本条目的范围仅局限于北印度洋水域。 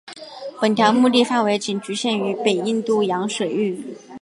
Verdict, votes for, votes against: accepted, 8, 0